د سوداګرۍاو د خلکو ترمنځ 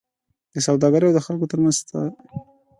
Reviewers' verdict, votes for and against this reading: rejected, 1, 2